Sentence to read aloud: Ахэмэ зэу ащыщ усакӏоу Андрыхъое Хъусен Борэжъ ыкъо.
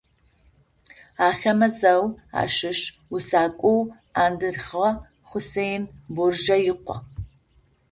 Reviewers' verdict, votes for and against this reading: rejected, 0, 2